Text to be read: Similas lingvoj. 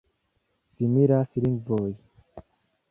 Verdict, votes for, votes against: accepted, 2, 0